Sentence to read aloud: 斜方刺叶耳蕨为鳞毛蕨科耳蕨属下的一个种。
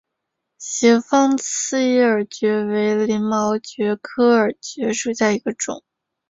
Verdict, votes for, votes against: accepted, 2, 1